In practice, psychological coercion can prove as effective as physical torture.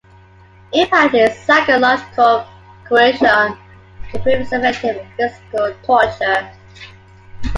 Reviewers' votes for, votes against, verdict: 1, 2, rejected